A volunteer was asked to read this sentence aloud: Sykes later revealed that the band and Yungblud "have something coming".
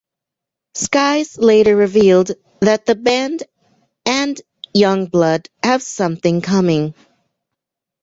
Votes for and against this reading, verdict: 0, 2, rejected